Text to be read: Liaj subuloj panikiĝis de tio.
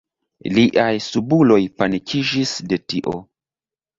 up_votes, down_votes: 2, 0